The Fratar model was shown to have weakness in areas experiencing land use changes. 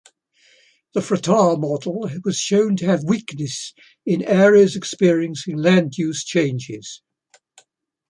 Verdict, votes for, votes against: accepted, 2, 1